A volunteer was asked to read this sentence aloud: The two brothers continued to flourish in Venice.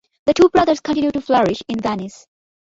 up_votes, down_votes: 1, 2